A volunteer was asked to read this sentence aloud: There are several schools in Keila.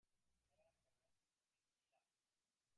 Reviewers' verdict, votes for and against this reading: rejected, 0, 2